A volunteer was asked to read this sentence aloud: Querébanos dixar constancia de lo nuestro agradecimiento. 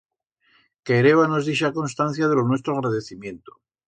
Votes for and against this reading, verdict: 2, 0, accepted